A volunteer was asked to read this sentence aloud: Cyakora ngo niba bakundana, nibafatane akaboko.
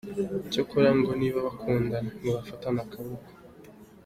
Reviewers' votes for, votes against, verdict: 2, 0, accepted